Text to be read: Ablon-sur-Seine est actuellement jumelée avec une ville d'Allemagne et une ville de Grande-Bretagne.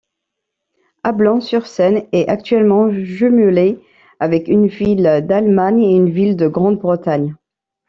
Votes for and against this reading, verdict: 2, 0, accepted